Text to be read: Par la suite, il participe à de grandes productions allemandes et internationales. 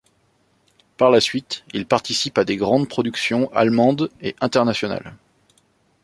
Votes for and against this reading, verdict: 1, 2, rejected